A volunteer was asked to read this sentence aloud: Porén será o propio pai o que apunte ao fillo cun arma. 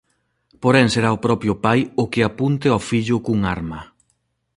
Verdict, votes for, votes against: accepted, 2, 0